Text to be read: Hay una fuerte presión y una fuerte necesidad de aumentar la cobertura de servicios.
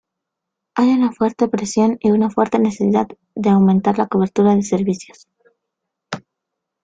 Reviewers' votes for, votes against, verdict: 1, 2, rejected